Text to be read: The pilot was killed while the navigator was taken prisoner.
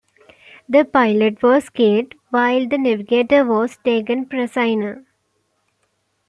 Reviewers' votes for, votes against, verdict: 2, 1, accepted